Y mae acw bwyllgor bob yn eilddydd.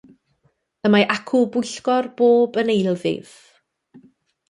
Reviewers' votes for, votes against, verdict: 2, 0, accepted